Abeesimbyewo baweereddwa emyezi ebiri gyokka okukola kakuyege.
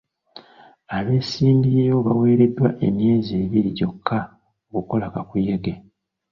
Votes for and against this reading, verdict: 2, 0, accepted